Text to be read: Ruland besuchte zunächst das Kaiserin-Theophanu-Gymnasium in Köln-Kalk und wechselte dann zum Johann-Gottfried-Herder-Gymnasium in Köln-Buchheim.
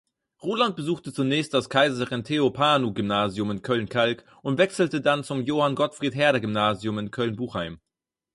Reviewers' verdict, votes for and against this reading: accepted, 4, 0